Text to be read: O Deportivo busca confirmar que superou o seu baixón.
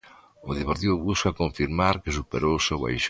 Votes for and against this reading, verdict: 0, 2, rejected